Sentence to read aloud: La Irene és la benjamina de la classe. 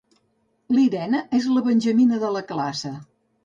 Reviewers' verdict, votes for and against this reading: rejected, 1, 2